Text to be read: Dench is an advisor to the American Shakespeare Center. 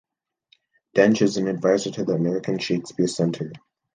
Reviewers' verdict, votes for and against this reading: accepted, 2, 0